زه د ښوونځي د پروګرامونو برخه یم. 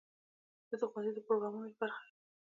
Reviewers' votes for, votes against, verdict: 2, 1, accepted